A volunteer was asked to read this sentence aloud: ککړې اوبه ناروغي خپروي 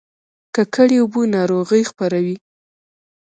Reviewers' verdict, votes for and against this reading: accepted, 2, 1